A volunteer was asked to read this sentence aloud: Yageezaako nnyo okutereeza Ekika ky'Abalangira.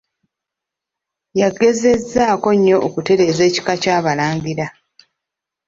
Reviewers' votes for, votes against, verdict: 1, 2, rejected